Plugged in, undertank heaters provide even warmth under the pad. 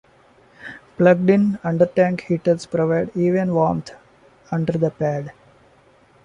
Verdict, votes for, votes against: accepted, 2, 1